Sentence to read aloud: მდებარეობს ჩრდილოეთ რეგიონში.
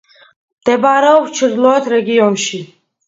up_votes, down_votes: 2, 0